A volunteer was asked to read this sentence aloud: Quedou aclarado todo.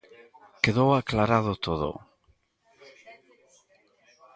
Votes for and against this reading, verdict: 1, 2, rejected